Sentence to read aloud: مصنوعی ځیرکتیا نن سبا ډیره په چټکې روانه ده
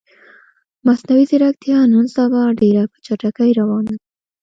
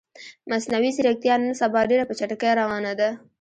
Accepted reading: first